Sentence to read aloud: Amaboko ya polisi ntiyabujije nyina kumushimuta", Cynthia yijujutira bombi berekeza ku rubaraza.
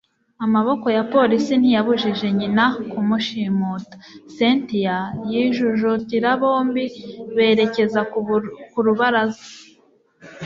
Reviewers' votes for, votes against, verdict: 1, 2, rejected